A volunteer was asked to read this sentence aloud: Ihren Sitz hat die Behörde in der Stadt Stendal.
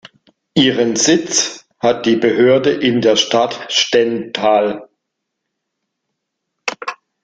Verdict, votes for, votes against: rejected, 1, 2